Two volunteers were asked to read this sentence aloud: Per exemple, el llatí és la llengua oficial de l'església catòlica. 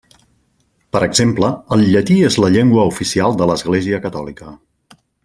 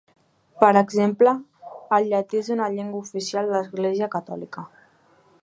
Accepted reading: first